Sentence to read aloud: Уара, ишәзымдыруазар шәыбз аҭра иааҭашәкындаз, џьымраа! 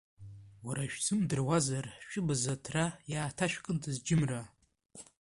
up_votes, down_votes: 1, 2